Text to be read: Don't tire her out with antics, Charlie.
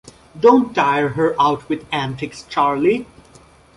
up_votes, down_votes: 2, 0